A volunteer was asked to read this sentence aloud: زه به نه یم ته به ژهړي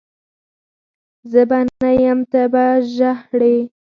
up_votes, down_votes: 4, 0